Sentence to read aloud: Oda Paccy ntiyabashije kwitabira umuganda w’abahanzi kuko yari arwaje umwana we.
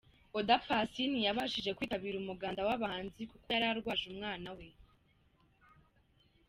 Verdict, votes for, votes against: accepted, 2, 0